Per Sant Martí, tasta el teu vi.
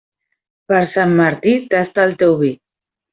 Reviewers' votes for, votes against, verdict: 2, 0, accepted